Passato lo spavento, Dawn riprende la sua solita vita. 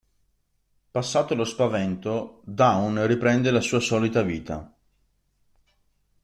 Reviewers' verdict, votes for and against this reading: rejected, 1, 2